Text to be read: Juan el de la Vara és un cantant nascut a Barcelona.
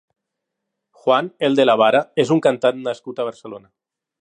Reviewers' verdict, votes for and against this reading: accepted, 5, 0